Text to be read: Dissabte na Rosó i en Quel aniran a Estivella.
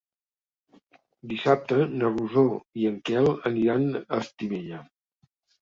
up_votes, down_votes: 3, 0